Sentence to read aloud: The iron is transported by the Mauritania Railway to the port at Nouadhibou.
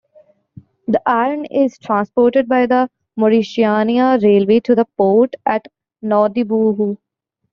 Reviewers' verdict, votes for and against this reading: rejected, 1, 2